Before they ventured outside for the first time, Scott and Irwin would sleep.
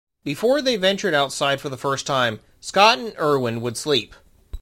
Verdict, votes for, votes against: accepted, 2, 0